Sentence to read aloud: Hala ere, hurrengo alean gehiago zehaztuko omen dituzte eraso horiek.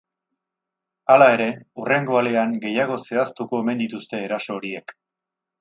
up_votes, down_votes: 8, 0